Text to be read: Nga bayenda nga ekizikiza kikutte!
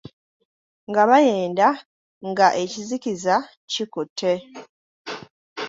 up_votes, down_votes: 1, 2